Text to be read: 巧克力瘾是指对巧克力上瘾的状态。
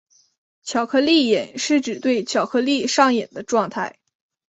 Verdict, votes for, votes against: accepted, 2, 0